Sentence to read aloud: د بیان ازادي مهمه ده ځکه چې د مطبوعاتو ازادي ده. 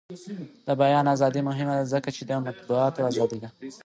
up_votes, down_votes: 2, 1